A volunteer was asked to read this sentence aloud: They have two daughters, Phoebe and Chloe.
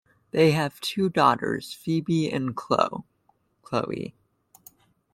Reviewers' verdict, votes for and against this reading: rejected, 0, 2